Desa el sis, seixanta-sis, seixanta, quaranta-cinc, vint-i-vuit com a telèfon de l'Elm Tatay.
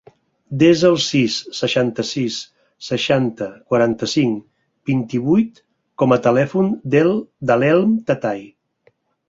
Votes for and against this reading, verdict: 4, 2, accepted